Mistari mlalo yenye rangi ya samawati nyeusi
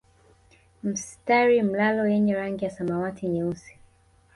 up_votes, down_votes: 1, 2